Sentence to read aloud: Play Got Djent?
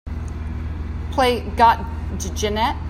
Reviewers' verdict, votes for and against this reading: rejected, 1, 2